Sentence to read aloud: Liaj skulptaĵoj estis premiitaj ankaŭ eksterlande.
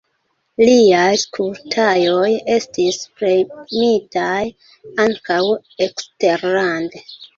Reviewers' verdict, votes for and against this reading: rejected, 0, 2